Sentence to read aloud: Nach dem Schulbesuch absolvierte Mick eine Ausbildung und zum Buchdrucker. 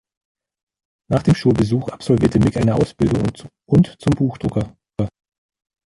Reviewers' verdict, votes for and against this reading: rejected, 0, 2